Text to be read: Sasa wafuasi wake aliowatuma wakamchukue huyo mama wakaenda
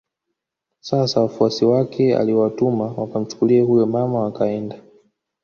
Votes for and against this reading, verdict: 1, 2, rejected